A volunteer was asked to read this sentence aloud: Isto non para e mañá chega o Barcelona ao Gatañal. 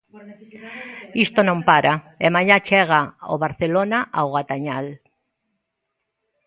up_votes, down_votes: 2, 0